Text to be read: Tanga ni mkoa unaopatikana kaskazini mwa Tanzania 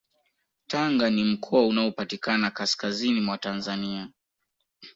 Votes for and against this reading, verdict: 2, 0, accepted